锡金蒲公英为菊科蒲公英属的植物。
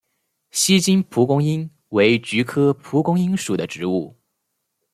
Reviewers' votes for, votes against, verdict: 2, 0, accepted